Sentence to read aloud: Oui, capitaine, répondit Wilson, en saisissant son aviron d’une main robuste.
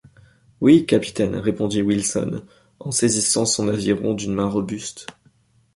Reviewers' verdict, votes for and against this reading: accepted, 2, 0